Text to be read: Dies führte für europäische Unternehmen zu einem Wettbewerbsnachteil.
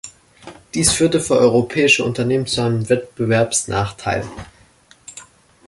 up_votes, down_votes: 2, 0